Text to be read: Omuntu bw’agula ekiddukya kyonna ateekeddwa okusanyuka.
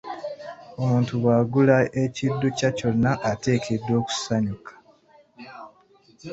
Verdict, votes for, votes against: accepted, 2, 1